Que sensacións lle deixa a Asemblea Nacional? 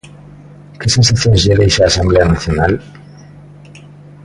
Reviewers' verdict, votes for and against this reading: accepted, 2, 1